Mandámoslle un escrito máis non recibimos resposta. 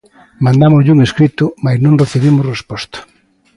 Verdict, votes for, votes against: accepted, 2, 0